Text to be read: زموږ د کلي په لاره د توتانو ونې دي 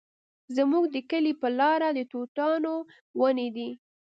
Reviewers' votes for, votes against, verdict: 2, 0, accepted